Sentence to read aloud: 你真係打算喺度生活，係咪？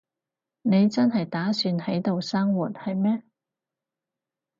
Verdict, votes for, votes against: rejected, 2, 4